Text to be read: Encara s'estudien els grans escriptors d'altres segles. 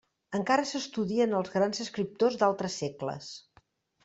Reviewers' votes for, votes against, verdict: 3, 0, accepted